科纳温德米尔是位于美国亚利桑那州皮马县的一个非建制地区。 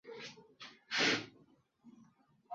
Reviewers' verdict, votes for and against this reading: rejected, 0, 3